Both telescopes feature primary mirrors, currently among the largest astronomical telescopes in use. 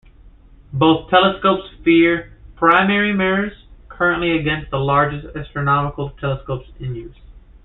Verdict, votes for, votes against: rejected, 1, 2